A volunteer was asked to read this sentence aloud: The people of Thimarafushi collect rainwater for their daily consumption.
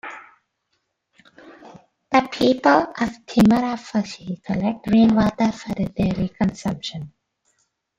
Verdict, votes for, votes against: accepted, 2, 0